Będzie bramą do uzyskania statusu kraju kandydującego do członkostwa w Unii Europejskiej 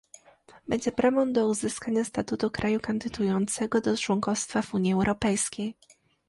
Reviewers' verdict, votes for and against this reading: rejected, 0, 2